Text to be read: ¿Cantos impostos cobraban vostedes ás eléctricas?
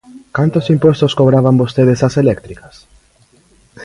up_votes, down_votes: 2, 0